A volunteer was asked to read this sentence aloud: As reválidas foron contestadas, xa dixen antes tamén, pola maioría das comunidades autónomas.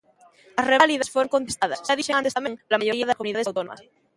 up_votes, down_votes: 0, 2